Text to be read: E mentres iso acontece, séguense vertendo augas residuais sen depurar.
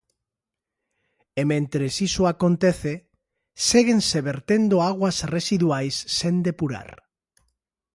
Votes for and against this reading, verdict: 0, 2, rejected